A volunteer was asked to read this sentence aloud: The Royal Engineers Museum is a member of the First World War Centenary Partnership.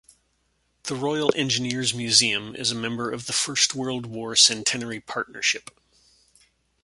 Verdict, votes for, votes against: accepted, 2, 0